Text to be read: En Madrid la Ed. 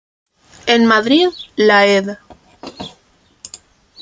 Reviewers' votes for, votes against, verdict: 2, 0, accepted